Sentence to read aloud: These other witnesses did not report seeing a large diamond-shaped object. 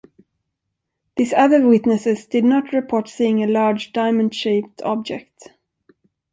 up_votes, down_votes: 2, 0